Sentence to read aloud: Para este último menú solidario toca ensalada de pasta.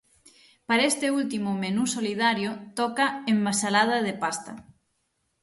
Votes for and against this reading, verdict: 3, 6, rejected